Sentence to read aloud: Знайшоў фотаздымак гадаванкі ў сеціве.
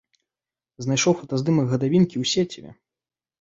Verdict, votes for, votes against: rejected, 0, 2